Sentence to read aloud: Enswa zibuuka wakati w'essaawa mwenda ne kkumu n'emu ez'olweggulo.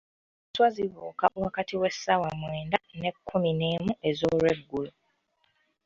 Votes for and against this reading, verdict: 2, 1, accepted